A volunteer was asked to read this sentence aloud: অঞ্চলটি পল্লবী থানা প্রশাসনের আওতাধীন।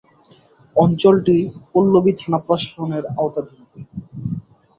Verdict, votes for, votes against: rejected, 5, 5